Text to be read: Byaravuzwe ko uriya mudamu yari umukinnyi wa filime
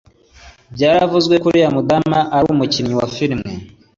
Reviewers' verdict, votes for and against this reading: accepted, 2, 0